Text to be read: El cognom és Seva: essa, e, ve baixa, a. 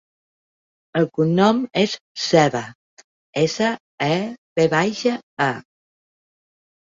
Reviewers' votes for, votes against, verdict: 3, 0, accepted